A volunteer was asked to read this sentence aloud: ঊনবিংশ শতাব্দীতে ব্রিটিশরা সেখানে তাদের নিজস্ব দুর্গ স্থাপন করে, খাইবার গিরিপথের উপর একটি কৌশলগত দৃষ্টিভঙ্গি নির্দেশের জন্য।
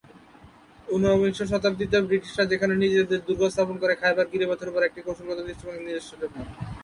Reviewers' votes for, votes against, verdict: 0, 2, rejected